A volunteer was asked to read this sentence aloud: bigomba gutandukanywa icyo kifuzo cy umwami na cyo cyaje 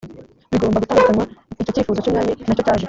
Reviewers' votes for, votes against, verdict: 1, 2, rejected